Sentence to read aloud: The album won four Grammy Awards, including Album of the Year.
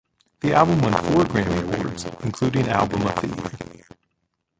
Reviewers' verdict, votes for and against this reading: rejected, 0, 2